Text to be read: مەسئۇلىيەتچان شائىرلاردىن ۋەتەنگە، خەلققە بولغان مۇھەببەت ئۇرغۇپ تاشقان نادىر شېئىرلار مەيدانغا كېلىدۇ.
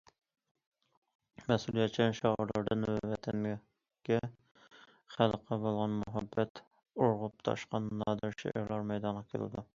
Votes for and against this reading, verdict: 1, 2, rejected